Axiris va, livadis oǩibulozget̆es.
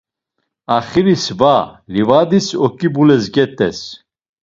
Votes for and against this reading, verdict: 1, 2, rejected